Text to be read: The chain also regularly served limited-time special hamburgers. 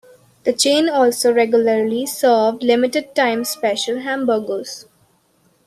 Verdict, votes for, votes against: accepted, 2, 0